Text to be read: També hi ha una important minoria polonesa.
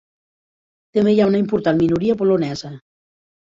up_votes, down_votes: 3, 0